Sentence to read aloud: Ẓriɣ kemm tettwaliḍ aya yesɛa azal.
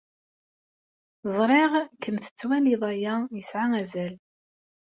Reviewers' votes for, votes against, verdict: 2, 0, accepted